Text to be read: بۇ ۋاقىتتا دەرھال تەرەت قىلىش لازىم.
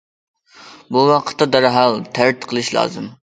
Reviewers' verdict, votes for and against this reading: accepted, 2, 0